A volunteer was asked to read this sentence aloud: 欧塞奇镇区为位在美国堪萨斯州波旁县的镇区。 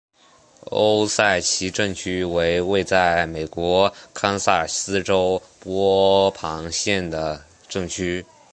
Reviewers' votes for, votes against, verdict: 7, 1, accepted